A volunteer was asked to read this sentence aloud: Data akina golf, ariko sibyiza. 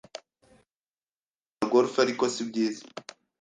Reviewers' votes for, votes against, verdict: 1, 2, rejected